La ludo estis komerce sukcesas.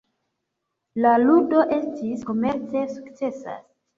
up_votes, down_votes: 2, 1